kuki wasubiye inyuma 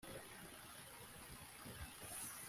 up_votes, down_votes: 1, 2